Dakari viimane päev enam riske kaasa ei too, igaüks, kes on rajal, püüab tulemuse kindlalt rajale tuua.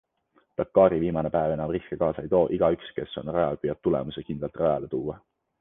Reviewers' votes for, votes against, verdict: 2, 0, accepted